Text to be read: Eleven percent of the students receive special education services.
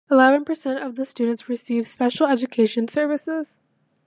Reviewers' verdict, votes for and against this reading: accepted, 2, 0